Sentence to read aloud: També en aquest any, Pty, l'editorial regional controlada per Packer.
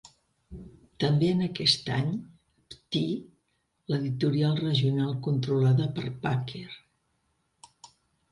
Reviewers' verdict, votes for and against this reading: accepted, 2, 0